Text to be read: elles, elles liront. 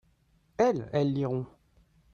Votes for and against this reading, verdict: 2, 0, accepted